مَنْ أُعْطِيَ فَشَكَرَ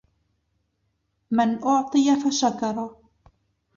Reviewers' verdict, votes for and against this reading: accepted, 2, 0